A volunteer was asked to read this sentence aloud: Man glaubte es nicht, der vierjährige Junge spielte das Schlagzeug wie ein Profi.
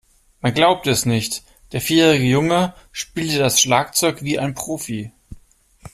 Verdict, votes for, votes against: accepted, 2, 0